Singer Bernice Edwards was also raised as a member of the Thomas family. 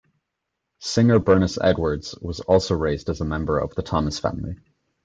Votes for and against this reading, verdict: 2, 0, accepted